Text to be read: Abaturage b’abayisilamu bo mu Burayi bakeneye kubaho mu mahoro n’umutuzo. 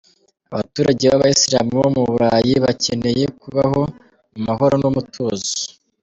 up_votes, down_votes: 2, 1